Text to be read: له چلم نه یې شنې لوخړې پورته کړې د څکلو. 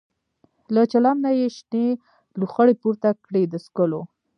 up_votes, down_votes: 0, 2